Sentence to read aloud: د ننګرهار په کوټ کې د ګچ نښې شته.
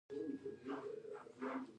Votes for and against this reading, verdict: 0, 2, rejected